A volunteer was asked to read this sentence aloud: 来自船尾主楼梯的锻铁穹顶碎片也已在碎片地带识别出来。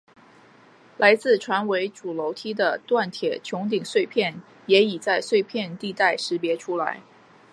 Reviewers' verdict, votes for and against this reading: accepted, 2, 0